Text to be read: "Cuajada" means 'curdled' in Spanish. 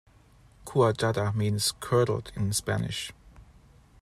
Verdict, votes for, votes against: accepted, 2, 0